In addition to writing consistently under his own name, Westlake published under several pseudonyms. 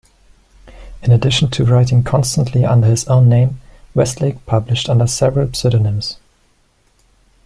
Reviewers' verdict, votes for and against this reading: rejected, 1, 2